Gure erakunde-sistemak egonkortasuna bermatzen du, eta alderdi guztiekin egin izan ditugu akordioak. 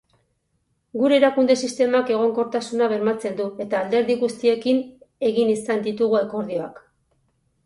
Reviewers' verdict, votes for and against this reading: accepted, 2, 0